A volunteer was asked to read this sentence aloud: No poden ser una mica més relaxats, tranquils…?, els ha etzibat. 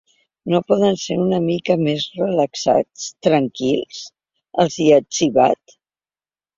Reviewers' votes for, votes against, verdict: 0, 2, rejected